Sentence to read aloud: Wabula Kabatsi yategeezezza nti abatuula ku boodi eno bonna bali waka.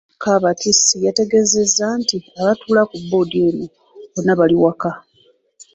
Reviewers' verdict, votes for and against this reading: rejected, 1, 2